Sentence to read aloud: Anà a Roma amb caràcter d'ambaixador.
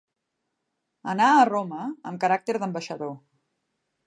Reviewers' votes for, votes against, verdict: 0, 2, rejected